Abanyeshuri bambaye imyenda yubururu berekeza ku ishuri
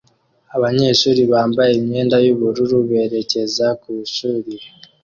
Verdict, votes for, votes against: accepted, 2, 0